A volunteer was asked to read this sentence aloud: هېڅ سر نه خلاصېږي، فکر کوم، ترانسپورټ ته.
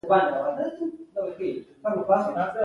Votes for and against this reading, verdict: 0, 2, rejected